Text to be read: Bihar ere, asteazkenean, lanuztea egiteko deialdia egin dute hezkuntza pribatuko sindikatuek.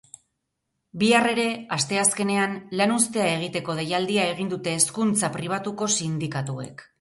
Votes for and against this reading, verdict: 2, 0, accepted